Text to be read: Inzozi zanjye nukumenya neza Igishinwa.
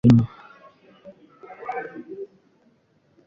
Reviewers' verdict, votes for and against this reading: rejected, 0, 2